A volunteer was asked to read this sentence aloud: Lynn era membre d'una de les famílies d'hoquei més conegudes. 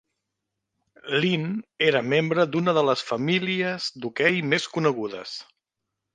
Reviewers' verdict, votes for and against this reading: accepted, 2, 0